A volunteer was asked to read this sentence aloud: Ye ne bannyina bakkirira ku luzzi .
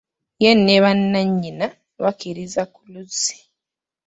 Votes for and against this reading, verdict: 1, 2, rejected